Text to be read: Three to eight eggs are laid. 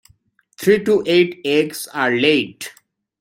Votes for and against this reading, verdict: 2, 0, accepted